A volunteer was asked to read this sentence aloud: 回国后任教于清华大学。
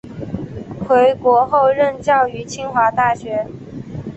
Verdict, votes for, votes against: accepted, 2, 0